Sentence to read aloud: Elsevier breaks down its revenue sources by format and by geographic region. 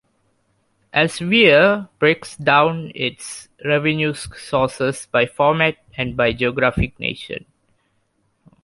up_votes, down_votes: 1, 2